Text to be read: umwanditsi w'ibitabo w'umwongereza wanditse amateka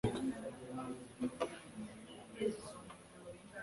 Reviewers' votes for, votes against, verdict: 0, 2, rejected